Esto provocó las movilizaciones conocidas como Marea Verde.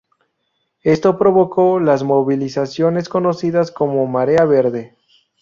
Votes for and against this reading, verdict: 2, 0, accepted